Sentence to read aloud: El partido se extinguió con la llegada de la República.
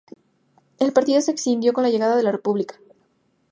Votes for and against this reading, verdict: 2, 2, rejected